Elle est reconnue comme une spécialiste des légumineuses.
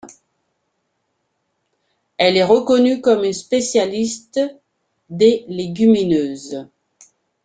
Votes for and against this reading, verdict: 2, 0, accepted